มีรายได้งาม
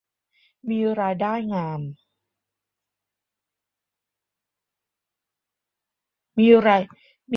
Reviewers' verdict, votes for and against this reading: rejected, 0, 2